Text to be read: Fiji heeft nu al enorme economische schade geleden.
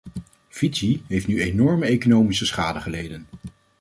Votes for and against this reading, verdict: 1, 2, rejected